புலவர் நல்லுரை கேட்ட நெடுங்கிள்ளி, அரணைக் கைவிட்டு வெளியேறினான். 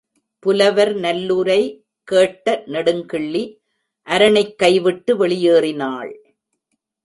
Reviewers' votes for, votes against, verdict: 1, 2, rejected